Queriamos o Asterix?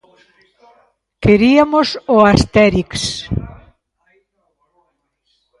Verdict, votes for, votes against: rejected, 0, 2